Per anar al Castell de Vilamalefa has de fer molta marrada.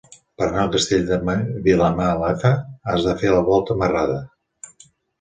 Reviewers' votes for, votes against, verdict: 0, 3, rejected